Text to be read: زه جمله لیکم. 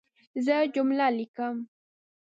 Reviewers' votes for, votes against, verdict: 2, 0, accepted